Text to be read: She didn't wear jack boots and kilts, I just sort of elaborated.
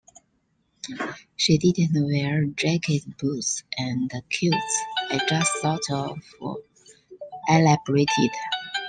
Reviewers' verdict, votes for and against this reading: rejected, 0, 2